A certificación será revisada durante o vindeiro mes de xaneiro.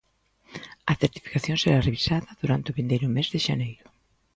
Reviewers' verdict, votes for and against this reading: accepted, 2, 0